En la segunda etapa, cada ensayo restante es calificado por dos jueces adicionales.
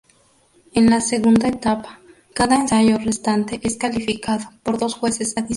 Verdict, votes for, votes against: rejected, 0, 2